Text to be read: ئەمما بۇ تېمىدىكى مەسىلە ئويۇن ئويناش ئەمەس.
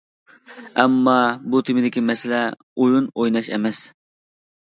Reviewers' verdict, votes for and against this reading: accepted, 2, 0